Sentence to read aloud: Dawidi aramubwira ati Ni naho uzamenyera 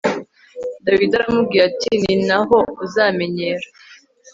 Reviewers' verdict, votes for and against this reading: accepted, 2, 0